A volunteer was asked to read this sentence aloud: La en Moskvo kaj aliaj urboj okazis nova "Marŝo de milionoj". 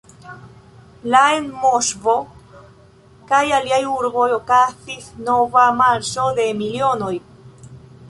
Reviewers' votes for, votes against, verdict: 2, 0, accepted